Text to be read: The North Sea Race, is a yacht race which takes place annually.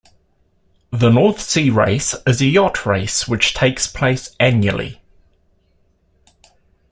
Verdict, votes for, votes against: accepted, 2, 0